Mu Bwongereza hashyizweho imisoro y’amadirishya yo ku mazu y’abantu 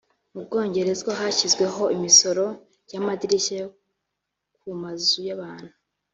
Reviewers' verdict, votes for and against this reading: rejected, 2, 3